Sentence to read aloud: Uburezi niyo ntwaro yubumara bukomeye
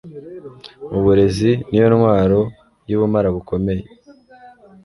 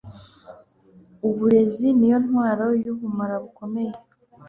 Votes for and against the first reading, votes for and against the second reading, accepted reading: 2, 0, 0, 2, first